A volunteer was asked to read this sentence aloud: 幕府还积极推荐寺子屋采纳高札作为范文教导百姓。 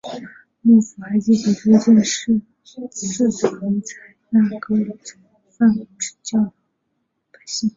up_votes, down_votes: 0, 3